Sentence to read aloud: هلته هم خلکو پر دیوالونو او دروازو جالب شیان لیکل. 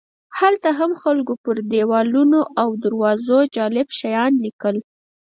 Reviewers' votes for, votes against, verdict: 0, 4, rejected